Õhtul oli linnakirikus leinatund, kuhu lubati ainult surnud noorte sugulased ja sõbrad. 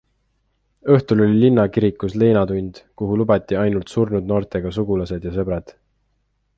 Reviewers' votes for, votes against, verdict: 0, 2, rejected